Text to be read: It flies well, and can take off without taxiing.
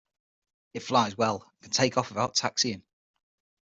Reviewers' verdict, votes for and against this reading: rejected, 3, 6